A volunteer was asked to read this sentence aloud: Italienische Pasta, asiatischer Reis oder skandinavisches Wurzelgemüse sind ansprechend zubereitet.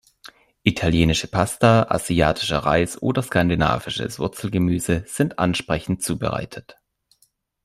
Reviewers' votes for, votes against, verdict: 2, 0, accepted